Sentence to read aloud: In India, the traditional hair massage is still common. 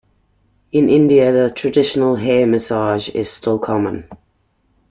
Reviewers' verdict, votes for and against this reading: accepted, 2, 0